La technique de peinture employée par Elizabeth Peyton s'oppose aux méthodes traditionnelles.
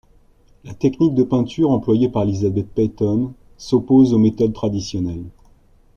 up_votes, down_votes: 2, 0